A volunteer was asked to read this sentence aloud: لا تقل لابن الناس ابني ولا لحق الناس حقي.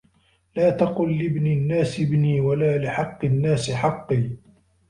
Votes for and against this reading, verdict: 1, 2, rejected